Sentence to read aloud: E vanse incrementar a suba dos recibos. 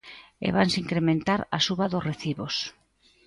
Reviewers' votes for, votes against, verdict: 2, 1, accepted